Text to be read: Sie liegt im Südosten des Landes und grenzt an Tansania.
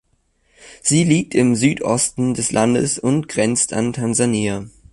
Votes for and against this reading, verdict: 3, 0, accepted